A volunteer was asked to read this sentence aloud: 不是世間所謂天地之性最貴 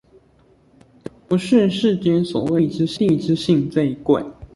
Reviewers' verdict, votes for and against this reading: rejected, 0, 2